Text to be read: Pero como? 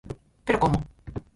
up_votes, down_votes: 0, 4